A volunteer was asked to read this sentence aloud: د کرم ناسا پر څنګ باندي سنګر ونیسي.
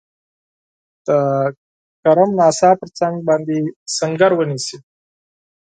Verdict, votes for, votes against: accepted, 4, 0